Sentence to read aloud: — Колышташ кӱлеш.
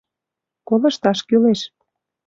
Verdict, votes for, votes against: accepted, 2, 0